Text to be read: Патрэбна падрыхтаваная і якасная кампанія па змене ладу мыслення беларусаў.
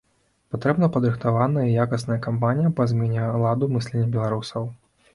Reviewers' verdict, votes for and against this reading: rejected, 0, 2